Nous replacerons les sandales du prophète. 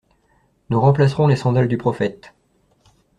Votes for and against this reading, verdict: 1, 2, rejected